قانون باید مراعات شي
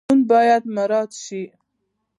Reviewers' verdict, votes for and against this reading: rejected, 0, 2